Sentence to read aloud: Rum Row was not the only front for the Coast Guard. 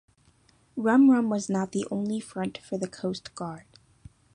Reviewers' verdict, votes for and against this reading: accepted, 2, 0